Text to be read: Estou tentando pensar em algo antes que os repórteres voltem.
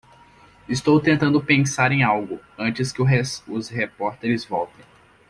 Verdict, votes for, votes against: rejected, 0, 2